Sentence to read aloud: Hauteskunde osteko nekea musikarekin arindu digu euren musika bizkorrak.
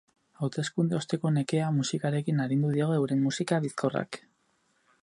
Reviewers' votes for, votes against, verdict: 4, 0, accepted